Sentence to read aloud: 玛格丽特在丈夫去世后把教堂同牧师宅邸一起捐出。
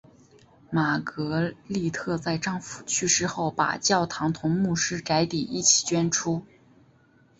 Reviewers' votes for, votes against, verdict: 3, 0, accepted